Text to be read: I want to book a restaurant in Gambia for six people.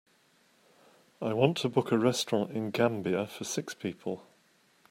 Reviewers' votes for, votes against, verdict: 2, 0, accepted